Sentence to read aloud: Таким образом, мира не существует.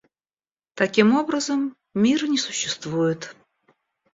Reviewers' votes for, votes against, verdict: 1, 2, rejected